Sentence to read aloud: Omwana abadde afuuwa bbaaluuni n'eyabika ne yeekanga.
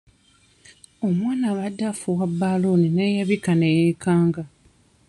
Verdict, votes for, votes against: accepted, 2, 1